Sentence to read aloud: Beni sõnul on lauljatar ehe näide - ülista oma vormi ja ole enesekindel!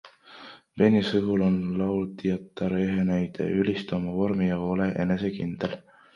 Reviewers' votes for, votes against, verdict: 1, 2, rejected